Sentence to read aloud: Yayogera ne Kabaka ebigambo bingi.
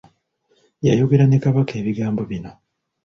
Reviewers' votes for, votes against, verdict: 0, 2, rejected